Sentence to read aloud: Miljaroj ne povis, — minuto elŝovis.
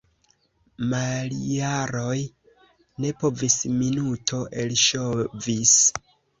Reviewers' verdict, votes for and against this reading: rejected, 1, 2